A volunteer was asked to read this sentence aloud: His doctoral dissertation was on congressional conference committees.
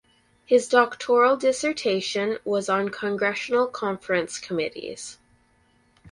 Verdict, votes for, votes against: rejected, 2, 2